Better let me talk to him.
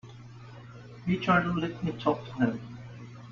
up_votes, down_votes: 0, 2